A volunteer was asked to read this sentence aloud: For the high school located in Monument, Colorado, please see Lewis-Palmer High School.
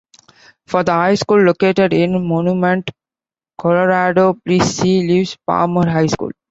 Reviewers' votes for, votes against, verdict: 2, 1, accepted